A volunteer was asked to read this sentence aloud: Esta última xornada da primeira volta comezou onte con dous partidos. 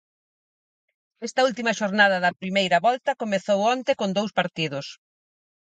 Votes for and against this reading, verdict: 4, 0, accepted